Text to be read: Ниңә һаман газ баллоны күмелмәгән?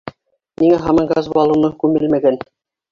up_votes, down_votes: 2, 0